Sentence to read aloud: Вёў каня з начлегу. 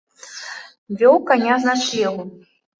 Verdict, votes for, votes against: accepted, 2, 0